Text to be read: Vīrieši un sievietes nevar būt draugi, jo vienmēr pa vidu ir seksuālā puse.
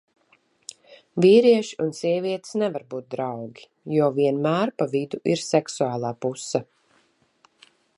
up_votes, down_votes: 2, 0